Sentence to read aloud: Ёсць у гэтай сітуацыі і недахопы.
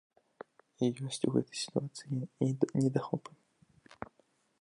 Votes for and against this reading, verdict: 0, 2, rejected